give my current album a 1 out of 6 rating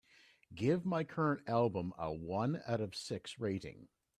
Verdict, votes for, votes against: rejected, 0, 2